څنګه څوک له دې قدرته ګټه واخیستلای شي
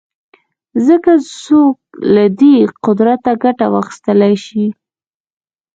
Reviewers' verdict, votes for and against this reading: accepted, 2, 0